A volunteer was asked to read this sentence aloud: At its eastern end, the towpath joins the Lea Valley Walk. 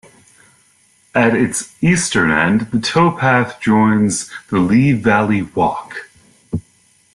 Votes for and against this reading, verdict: 2, 0, accepted